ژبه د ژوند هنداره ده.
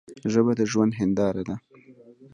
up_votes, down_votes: 1, 2